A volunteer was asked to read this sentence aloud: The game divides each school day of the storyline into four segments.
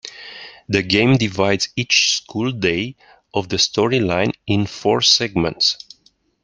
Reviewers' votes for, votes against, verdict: 1, 2, rejected